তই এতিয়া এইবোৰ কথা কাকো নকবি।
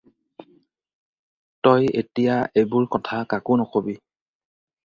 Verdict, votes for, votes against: accepted, 2, 0